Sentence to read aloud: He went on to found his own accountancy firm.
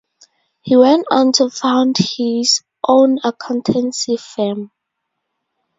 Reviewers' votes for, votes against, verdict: 4, 0, accepted